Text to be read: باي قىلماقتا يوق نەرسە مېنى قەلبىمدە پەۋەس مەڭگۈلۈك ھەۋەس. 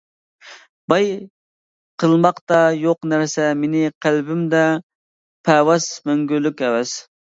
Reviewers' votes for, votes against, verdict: 2, 0, accepted